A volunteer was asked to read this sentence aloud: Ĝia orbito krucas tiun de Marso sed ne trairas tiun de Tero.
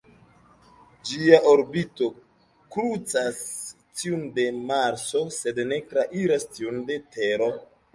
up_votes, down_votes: 2, 1